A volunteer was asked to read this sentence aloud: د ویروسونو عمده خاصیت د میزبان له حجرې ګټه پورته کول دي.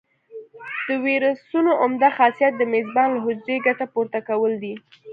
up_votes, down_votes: 2, 0